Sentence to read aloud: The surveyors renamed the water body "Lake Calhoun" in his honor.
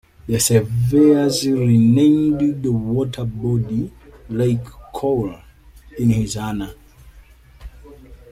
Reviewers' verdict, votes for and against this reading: rejected, 1, 2